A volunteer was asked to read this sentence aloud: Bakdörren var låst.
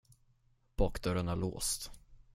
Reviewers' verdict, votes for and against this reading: rejected, 5, 10